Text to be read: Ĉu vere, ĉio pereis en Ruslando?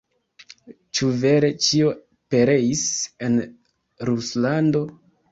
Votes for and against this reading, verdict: 0, 2, rejected